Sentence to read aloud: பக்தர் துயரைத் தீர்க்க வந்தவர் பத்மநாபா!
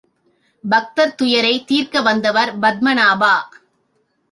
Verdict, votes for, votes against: accepted, 2, 0